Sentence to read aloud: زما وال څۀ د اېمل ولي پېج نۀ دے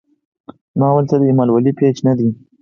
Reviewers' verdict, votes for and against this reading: accepted, 4, 0